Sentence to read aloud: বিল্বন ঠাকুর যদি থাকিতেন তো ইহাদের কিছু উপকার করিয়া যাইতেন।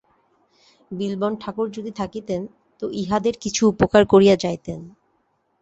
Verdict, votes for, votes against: accepted, 2, 0